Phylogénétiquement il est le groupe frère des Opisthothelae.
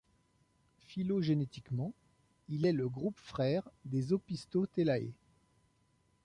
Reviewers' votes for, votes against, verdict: 2, 0, accepted